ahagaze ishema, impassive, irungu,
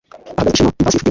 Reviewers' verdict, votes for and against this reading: accepted, 2, 1